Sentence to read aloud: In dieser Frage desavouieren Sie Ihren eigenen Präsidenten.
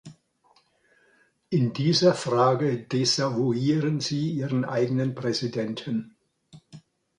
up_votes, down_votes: 2, 0